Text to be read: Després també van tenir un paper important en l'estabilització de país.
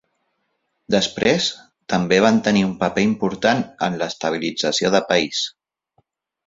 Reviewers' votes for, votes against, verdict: 3, 0, accepted